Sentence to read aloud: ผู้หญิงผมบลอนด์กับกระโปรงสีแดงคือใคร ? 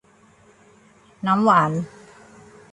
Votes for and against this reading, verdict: 0, 2, rejected